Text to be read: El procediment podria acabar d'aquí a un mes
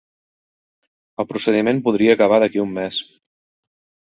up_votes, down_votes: 5, 0